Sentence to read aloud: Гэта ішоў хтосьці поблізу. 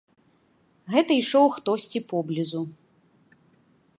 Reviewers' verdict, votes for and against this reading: accepted, 2, 0